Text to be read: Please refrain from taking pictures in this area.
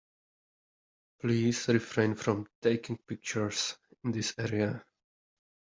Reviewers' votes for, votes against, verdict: 2, 0, accepted